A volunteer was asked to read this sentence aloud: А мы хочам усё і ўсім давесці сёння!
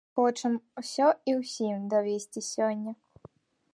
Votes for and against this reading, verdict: 1, 2, rejected